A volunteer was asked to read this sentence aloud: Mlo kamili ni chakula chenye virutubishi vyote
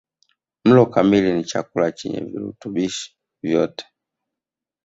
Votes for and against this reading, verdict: 1, 2, rejected